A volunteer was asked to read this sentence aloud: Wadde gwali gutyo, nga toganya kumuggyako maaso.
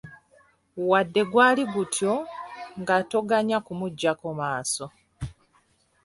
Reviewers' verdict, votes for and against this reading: accepted, 2, 1